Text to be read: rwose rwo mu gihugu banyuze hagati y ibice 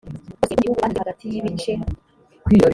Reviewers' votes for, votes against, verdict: 0, 3, rejected